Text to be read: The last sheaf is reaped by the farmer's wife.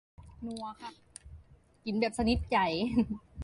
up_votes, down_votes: 0, 2